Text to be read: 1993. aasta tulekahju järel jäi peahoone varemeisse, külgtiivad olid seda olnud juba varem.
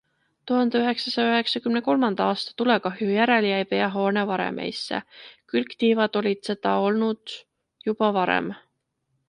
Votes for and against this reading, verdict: 0, 2, rejected